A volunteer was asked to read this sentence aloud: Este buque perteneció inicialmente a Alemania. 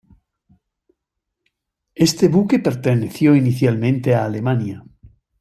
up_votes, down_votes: 2, 0